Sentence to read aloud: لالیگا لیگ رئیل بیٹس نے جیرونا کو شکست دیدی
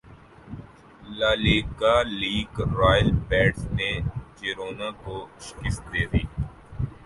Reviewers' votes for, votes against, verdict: 0, 2, rejected